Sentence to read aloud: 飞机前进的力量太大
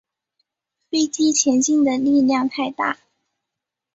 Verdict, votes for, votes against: accepted, 3, 0